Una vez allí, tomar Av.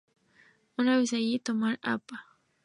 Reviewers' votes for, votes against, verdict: 2, 0, accepted